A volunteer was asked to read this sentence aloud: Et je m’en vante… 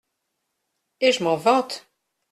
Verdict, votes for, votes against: accepted, 2, 0